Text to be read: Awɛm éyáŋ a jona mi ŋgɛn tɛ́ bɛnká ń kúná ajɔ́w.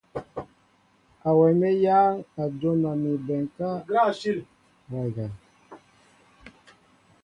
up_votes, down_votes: 0, 2